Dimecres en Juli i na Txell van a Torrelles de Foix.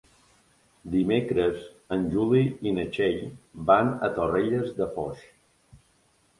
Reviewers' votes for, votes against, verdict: 3, 0, accepted